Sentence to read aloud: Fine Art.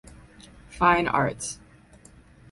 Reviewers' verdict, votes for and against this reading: rejected, 0, 4